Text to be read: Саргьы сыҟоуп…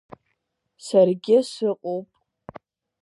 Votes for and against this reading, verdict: 2, 0, accepted